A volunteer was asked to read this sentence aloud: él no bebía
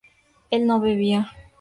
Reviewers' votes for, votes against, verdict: 2, 0, accepted